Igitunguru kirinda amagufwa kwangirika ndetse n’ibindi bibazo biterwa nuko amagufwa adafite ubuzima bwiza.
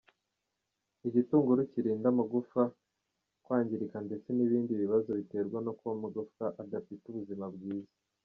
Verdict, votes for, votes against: rejected, 0, 2